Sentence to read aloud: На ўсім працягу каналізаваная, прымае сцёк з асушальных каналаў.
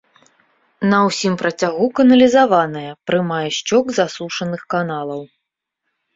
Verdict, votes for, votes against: rejected, 0, 2